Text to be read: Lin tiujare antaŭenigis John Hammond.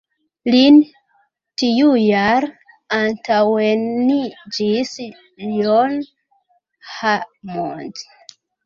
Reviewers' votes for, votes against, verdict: 1, 3, rejected